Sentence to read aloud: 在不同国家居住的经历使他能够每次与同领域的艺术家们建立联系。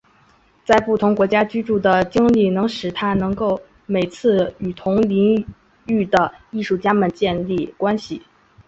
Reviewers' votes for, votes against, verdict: 3, 0, accepted